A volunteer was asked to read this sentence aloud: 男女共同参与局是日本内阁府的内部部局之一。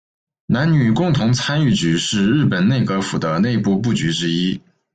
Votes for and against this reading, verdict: 1, 2, rejected